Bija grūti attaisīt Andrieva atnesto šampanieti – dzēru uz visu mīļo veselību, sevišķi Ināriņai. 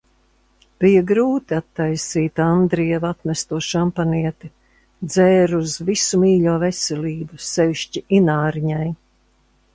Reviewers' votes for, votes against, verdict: 2, 0, accepted